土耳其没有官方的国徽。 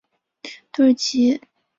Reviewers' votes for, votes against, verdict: 1, 2, rejected